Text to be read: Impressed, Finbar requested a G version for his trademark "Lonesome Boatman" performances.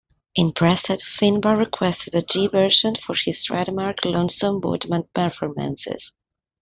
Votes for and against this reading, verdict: 1, 2, rejected